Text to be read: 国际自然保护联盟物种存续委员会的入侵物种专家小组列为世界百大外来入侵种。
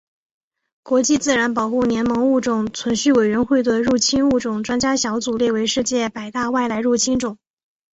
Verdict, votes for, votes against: accepted, 3, 1